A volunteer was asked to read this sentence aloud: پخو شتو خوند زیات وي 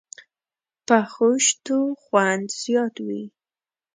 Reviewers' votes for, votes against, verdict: 2, 0, accepted